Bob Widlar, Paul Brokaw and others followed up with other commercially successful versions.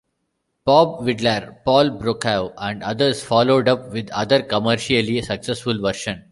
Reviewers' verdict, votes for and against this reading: rejected, 1, 2